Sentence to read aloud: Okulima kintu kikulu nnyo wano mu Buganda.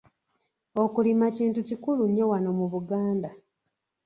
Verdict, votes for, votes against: accepted, 2, 0